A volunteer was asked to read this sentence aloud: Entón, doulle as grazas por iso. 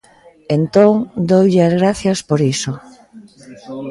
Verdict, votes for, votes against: rejected, 1, 2